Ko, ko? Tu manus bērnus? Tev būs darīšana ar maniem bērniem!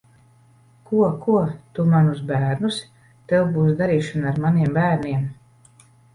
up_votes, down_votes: 2, 0